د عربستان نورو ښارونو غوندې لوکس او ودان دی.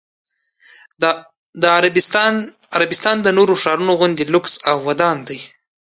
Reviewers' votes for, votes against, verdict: 2, 0, accepted